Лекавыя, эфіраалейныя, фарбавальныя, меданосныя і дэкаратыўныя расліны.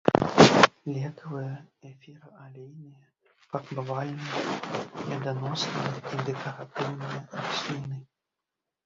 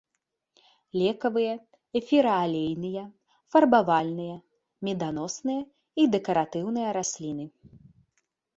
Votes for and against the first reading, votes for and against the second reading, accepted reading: 0, 2, 2, 0, second